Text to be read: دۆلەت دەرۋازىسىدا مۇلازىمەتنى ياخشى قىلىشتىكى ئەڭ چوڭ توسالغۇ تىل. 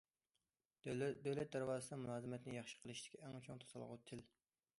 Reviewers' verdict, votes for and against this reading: rejected, 0, 2